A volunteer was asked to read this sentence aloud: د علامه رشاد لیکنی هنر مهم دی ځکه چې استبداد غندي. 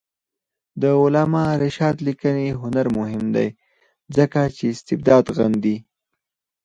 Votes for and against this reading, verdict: 2, 4, rejected